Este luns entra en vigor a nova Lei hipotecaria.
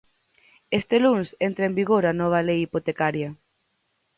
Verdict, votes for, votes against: accepted, 4, 0